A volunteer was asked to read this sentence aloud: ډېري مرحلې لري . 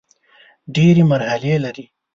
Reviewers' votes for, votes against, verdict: 6, 0, accepted